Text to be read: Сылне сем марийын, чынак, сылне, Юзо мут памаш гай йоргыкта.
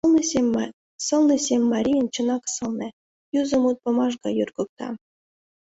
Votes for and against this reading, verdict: 2, 0, accepted